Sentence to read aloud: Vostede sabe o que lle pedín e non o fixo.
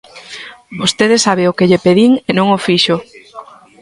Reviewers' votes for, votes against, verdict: 0, 2, rejected